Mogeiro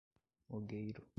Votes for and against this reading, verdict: 0, 2, rejected